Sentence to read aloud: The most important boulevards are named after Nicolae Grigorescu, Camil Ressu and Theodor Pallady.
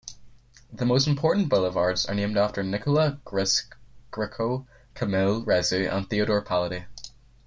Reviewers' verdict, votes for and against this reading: accepted, 7, 4